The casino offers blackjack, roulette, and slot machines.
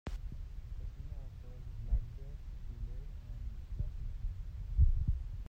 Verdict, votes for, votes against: rejected, 0, 2